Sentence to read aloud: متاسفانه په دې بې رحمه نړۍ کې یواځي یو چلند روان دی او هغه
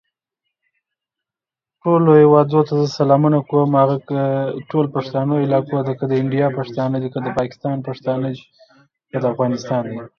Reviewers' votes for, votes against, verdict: 0, 2, rejected